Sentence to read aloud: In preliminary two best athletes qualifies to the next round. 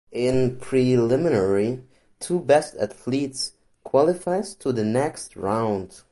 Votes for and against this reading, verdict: 1, 2, rejected